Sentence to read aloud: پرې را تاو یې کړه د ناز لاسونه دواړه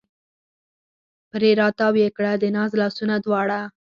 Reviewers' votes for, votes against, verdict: 4, 0, accepted